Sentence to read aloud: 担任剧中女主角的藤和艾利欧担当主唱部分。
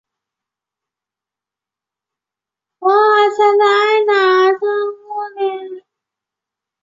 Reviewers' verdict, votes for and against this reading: rejected, 0, 2